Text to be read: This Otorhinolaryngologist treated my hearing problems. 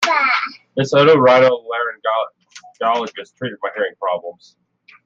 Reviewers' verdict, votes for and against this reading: rejected, 0, 2